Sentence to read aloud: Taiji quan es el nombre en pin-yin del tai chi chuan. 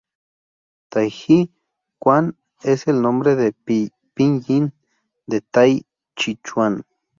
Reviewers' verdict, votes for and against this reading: rejected, 0, 2